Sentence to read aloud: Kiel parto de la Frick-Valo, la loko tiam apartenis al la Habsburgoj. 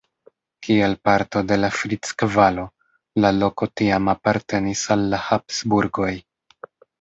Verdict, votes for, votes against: accepted, 2, 1